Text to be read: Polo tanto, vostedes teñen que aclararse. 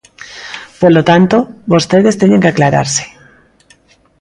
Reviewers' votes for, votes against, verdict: 2, 0, accepted